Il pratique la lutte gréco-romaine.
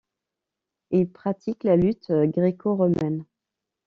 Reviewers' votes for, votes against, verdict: 2, 0, accepted